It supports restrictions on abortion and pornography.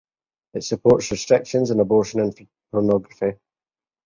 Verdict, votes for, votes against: accepted, 2, 0